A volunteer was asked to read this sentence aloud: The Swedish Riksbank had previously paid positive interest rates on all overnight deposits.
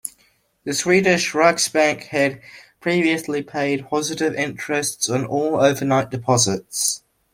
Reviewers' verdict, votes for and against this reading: rejected, 1, 2